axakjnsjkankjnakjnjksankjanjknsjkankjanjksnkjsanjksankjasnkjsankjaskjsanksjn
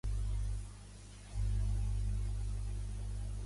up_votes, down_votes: 0, 2